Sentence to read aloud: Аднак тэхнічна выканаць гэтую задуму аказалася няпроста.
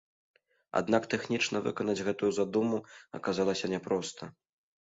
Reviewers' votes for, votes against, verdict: 2, 0, accepted